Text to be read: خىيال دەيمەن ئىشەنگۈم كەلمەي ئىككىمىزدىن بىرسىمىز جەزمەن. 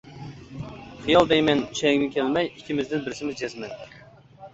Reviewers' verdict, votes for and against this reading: accepted, 2, 1